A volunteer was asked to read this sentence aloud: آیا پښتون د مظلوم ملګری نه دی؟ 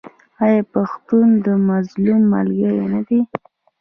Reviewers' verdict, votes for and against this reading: accepted, 2, 0